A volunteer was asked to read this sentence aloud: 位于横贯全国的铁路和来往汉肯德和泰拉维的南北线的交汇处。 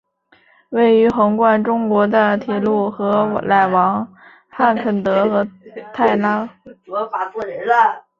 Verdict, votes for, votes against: rejected, 0, 2